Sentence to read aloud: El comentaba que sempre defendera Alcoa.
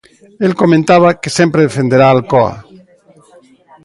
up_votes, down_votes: 0, 2